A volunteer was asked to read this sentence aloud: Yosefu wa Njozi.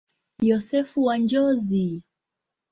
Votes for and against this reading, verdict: 2, 0, accepted